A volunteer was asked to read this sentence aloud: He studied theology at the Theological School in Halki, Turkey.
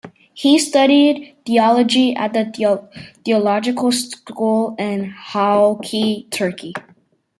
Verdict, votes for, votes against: accepted, 2, 1